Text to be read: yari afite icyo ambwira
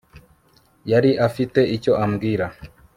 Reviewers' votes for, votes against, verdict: 3, 0, accepted